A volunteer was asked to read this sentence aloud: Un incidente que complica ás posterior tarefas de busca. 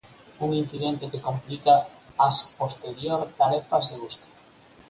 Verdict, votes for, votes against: rejected, 2, 2